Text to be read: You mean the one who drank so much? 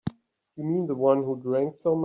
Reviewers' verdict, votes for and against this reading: rejected, 0, 3